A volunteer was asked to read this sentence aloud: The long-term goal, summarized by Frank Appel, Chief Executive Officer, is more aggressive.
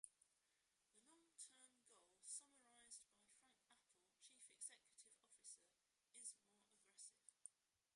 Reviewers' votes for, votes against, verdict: 0, 2, rejected